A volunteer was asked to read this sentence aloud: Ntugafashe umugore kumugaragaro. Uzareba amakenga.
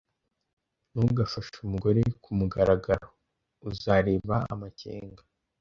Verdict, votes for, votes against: accepted, 2, 0